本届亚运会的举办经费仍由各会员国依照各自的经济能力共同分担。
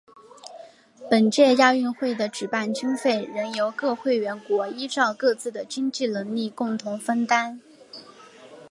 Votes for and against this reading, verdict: 6, 0, accepted